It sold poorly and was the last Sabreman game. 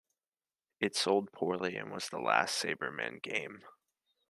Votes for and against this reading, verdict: 2, 0, accepted